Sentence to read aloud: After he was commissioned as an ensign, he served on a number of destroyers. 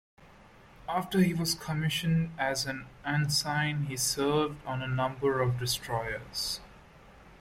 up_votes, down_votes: 2, 1